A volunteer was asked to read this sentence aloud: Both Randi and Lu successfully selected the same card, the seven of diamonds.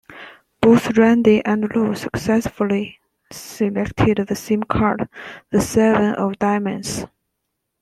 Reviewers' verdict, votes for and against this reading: accepted, 2, 0